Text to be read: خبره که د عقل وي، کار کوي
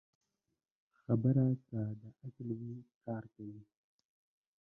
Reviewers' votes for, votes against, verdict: 0, 2, rejected